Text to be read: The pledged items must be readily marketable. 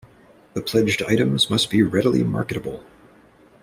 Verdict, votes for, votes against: accepted, 2, 0